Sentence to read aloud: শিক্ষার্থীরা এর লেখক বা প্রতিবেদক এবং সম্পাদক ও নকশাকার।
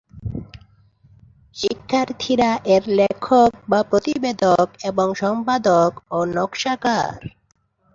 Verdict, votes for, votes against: accepted, 2, 1